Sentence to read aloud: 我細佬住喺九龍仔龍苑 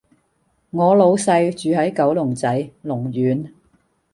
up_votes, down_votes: 0, 2